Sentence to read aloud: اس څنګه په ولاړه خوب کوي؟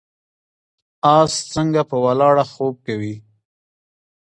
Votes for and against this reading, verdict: 2, 0, accepted